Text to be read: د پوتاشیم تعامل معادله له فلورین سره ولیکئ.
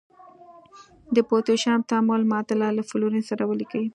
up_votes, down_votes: 2, 1